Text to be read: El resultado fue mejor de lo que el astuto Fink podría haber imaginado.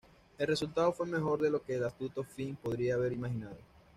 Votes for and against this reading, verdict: 2, 0, accepted